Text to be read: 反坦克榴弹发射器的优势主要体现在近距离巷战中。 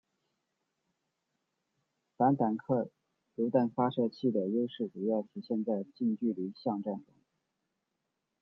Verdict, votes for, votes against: rejected, 0, 2